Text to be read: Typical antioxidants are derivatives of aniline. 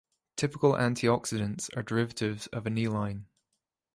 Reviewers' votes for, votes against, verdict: 2, 0, accepted